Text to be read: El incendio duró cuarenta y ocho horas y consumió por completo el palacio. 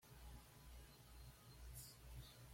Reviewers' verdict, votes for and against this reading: rejected, 1, 2